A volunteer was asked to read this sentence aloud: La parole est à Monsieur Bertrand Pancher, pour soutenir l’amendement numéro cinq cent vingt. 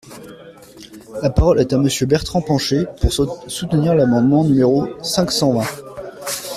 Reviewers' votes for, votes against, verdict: 2, 0, accepted